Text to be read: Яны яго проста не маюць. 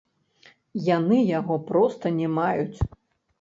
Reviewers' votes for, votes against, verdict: 0, 2, rejected